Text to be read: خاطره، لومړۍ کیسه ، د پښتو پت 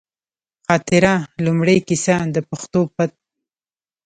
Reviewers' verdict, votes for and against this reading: rejected, 1, 2